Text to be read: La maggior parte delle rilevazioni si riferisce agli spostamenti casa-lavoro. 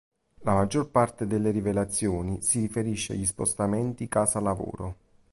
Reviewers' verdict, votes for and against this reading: rejected, 1, 2